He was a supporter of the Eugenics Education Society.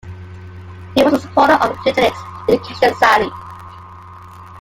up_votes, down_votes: 1, 2